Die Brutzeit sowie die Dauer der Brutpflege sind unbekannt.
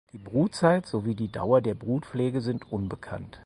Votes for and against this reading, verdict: 4, 0, accepted